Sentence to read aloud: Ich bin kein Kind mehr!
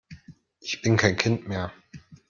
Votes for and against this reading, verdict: 2, 0, accepted